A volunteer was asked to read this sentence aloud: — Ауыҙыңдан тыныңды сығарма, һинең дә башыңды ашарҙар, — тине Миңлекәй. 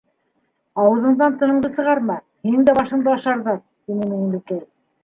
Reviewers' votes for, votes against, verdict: 2, 0, accepted